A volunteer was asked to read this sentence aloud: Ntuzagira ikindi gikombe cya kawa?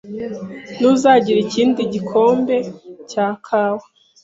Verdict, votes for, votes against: accepted, 2, 0